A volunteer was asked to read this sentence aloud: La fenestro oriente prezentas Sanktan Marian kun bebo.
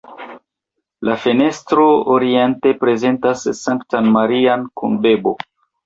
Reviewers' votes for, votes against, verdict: 2, 1, accepted